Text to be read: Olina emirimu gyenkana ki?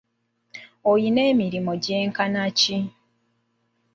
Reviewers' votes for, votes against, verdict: 0, 2, rejected